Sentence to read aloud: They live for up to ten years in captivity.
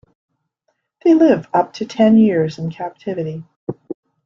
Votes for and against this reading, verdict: 1, 2, rejected